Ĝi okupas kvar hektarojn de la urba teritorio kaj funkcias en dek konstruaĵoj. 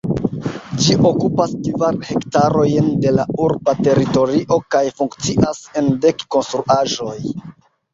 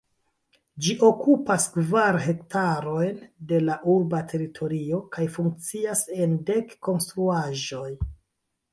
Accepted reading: first